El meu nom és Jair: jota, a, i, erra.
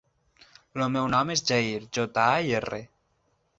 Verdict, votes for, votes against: rejected, 0, 4